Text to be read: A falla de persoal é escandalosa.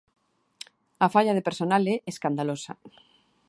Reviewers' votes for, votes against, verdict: 1, 2, rejected